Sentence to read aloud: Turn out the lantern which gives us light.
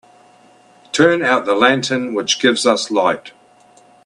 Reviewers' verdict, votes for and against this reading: accepted, 2, 0